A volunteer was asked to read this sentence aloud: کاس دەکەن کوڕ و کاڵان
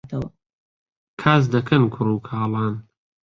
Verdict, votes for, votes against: rejected, 1, 2